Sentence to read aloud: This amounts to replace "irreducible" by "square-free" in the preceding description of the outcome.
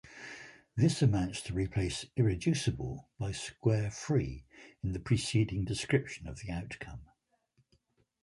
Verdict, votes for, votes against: accepted, 4, 1